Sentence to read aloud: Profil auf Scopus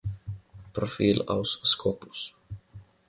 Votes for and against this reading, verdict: 1, 2, rejected